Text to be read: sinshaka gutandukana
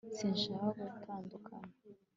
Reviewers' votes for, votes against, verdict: 2, 0, accepted